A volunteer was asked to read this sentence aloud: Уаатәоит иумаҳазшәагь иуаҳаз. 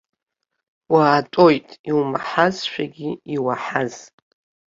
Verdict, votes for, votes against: accepted, 3, 0